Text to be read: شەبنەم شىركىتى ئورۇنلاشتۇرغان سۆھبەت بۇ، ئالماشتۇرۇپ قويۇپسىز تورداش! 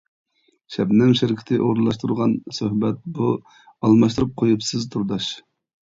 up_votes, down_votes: 2, 0